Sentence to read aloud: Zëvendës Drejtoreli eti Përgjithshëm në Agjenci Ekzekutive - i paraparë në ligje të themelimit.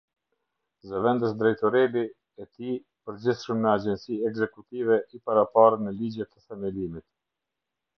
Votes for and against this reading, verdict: 0, 2, rejected